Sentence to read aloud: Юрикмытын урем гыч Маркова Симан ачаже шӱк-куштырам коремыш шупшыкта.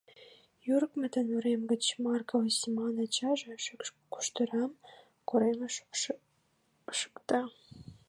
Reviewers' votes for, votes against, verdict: 1, 2, rejected